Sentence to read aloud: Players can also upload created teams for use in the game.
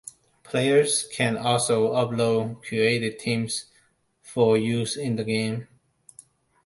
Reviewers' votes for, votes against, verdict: 1, 2, rejected